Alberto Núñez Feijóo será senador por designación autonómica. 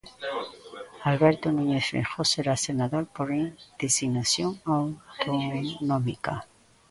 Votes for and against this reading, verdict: 0, 2, rejected